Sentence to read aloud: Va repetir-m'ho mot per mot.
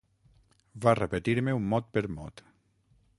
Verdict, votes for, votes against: rejected, 3, 6